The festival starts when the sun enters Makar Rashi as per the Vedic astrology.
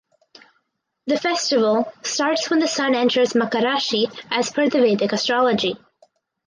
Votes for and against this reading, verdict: 4, 0, accepted